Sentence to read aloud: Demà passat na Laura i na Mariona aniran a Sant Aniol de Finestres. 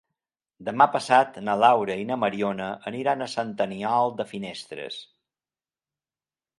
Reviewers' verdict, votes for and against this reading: accepted, 2, 0